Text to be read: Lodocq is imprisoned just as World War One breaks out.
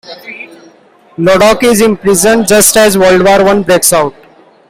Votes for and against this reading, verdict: 3, 0, accepted